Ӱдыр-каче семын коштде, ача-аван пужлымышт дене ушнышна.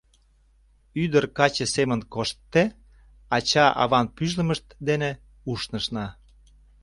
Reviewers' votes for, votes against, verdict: 0, 2, rejected